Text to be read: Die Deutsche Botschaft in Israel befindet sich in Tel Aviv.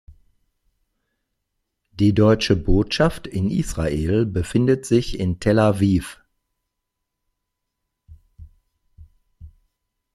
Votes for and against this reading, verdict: 2, 0, accepted